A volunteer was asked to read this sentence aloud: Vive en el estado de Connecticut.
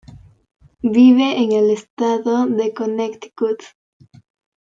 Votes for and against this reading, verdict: 1, 2, rejected